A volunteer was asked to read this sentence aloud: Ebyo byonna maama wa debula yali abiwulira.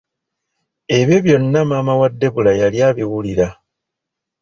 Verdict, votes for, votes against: accepted, 2, 0